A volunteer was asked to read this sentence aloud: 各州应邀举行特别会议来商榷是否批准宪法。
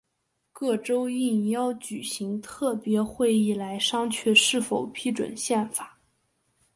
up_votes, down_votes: 3, 1